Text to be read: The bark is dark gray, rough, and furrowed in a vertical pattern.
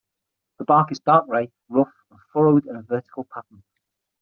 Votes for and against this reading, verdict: 3, 6, rejected